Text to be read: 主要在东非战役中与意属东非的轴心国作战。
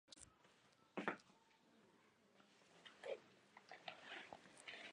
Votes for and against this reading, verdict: 0, 2, rejected